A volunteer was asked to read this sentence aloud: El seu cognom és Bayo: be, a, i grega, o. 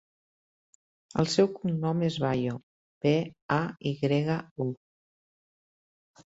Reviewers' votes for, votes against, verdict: 2, 3, rejected